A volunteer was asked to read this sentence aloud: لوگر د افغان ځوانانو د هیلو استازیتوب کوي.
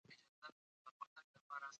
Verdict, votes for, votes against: rejected, 0, 2